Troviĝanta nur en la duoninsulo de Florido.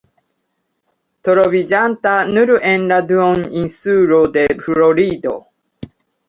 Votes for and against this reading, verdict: 2, 0, accepted